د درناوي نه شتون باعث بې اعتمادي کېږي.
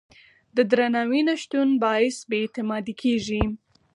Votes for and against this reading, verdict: 4, 0, accepted